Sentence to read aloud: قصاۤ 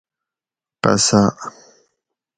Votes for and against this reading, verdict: 4, 0, accepted